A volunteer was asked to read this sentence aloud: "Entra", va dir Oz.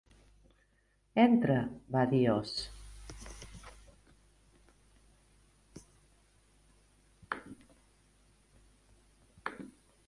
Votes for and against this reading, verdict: 3, 0, accepted